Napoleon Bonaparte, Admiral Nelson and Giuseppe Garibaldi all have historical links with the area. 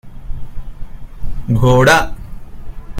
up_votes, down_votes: 0, 2